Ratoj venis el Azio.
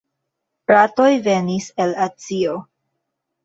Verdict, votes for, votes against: accepted, 3, 2